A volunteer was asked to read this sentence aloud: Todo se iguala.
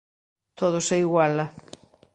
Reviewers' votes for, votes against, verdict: 3, 0, accepted